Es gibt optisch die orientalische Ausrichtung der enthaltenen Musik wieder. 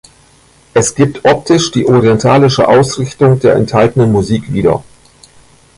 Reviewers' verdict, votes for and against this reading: rejected, 1, 2